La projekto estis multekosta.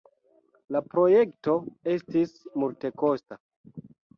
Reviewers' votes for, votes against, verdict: 2, 0, accepted